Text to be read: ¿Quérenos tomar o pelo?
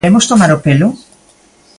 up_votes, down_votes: 1, 2